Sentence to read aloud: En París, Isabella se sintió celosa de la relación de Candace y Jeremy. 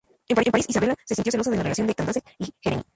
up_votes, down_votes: 2, 2